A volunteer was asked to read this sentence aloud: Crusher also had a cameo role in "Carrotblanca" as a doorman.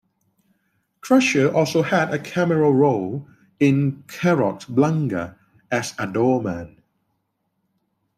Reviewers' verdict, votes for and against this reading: accepted, 2, 1